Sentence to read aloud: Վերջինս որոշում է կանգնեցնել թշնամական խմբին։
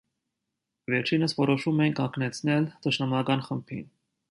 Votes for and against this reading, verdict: 2, 1, accepted